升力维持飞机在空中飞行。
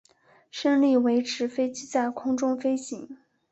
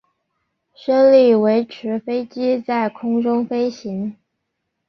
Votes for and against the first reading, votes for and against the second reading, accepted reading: 3, 0, 0, 2, first